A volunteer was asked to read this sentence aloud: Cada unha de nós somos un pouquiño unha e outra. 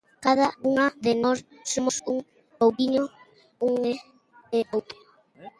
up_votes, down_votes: 0, 2